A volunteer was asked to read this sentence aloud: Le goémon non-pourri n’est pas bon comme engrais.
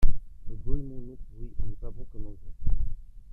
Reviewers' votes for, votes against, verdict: 1, 2, rejected